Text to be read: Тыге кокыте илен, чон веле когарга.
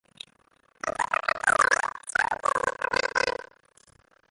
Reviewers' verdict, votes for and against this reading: rejected, 0, 3